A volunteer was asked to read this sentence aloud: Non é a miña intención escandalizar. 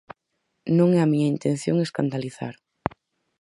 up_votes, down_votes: 4, 0